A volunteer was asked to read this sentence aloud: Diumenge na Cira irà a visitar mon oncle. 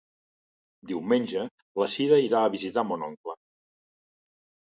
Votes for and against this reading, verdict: 0, 2, rejected